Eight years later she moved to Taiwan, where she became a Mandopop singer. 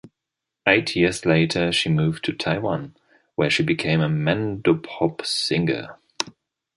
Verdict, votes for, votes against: accepted, 2, 0